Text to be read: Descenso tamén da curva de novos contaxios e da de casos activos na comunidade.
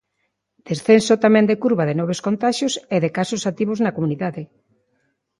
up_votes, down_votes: 0, 2